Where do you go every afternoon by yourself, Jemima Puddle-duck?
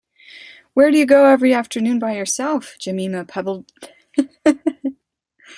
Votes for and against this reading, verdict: 0, 2, rejected